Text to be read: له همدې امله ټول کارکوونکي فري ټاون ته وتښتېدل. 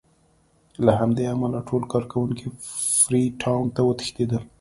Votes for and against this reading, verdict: 3, 1, accepted